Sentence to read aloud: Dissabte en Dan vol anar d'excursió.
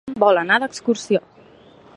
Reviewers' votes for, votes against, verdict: 1, 2, rejected